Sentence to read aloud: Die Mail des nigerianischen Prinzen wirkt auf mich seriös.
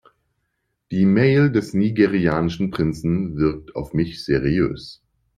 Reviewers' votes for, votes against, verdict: 2, 0, accepted